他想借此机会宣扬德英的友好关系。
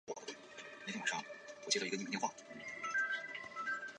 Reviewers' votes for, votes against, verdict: 0, 2, rejected